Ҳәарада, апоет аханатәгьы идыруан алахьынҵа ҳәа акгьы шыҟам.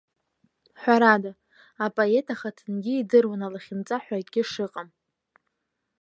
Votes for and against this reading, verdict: 0, 2, rejected